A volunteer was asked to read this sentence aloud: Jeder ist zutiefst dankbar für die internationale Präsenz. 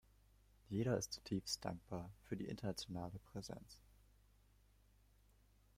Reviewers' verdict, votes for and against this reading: rejected, 1, 2